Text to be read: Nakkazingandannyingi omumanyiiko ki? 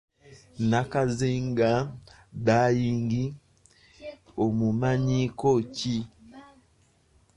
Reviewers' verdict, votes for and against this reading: rejected, 1, 2